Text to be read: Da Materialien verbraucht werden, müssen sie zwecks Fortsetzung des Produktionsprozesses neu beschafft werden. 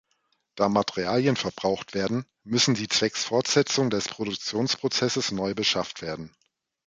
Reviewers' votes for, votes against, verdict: 2, 0, accepted